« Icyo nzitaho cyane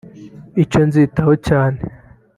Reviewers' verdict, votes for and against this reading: accepted, 3, 0